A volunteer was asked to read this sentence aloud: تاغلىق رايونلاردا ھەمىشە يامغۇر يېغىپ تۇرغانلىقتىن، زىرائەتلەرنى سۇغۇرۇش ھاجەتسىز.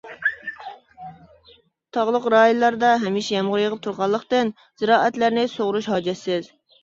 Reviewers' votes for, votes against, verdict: 2, 0, accepted